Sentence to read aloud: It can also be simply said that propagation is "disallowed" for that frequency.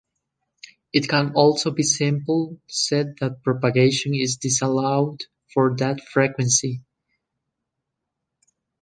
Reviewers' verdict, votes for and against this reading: rejected, 0, 3